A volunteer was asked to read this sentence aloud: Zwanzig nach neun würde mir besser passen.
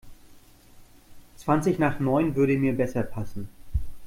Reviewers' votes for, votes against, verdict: 2, 0, accepted